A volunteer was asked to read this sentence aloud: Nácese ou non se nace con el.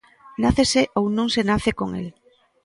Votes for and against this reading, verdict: 2, 0, accepted